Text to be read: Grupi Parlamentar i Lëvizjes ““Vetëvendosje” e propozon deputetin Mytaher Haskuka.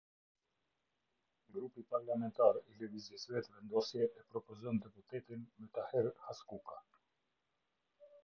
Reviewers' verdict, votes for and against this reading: rejected, 0, 2